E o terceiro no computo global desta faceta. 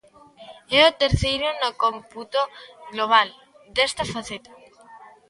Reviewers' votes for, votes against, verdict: 1, 2, rejected